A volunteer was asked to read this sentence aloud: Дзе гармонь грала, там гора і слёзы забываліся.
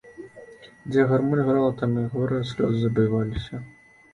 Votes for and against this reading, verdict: 1, 2, rejected